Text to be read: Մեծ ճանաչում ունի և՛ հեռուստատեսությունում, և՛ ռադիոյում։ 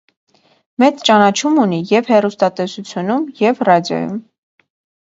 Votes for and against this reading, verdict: 2, 0, accepted